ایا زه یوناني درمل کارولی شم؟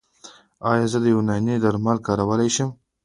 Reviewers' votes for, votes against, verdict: 2, 0, accepted